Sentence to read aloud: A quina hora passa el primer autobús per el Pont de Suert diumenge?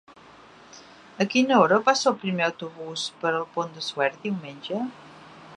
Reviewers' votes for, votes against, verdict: 3, 0, accepted